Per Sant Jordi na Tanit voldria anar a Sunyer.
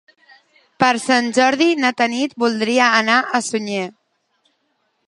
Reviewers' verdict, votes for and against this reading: accepted, 2, 0